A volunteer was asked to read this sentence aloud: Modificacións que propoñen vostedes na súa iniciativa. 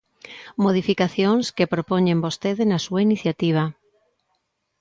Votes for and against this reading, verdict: 0, 2, rejected